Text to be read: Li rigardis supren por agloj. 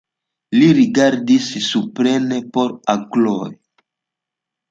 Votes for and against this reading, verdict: 1, 2, rejected